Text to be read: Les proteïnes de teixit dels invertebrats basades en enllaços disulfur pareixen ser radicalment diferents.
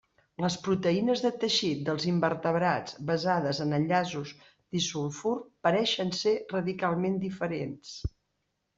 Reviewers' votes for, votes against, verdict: 2, 0, accepted